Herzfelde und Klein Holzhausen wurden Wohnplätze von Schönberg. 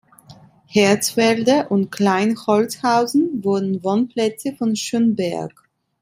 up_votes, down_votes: 2, 0